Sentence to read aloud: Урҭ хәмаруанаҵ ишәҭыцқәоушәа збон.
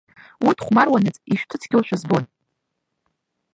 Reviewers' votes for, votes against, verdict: 0, 2, rejected